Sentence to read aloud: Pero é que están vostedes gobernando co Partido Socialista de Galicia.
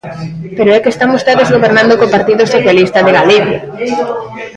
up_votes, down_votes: 0, 2